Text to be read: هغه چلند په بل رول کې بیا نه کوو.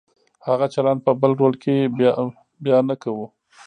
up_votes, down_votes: 1, 2